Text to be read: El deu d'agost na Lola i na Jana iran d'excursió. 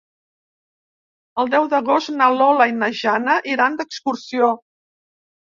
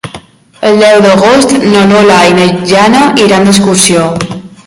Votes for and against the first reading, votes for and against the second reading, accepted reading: 3, 0, 1, 2, first